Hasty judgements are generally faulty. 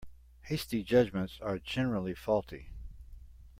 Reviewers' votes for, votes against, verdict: 2, 0, accepted